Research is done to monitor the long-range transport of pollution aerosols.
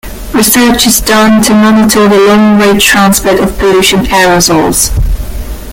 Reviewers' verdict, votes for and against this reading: rejected, 1, 2